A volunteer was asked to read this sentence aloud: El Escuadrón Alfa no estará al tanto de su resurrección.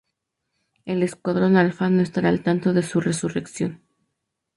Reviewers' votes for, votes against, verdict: 2, 0, accepted